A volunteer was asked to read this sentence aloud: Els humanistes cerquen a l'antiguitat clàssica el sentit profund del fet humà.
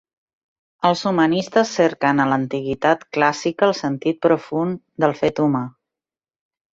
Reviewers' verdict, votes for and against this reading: accepted, 3, 0